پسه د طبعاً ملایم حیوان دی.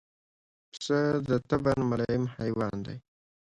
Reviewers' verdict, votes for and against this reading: accepted, 2, 0